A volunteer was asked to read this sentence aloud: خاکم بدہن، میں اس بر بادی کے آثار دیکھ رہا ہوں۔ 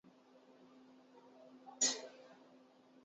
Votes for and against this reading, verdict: 0, 3, rejected